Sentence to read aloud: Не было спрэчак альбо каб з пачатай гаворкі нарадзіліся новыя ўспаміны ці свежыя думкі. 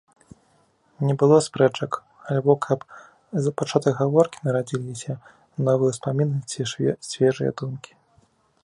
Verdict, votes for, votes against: rejected, 1, 2